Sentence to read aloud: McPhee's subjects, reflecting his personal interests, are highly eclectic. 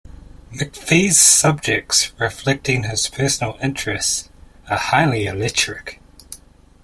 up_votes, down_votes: 0, 2